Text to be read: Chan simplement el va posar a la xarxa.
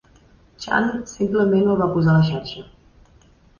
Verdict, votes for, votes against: accepted, 2, 0